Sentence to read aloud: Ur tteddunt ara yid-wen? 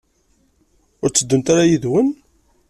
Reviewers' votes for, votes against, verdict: 2, 0, accepted